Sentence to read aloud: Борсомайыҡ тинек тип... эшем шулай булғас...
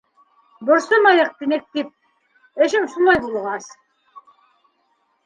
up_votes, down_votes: 2, 0